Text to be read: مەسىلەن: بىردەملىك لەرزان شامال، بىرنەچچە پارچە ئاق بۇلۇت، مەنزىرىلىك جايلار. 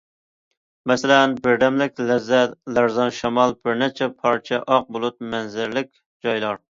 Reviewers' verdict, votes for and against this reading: rejected, 0, 2